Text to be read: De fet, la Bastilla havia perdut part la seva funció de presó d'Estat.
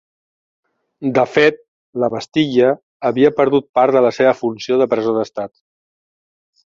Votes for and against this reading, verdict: 2, 0, accepted